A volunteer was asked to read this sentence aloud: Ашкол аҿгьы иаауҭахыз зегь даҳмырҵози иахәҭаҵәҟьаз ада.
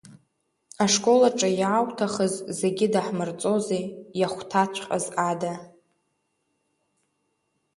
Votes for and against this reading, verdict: 0, 2, rejected